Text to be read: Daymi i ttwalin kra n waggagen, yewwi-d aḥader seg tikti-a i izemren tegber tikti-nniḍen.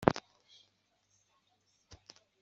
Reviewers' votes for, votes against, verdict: 0, 2, rejected